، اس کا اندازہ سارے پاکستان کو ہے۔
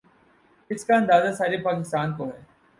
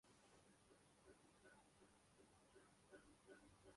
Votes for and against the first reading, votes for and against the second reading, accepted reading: 24, 0, 0, 2, first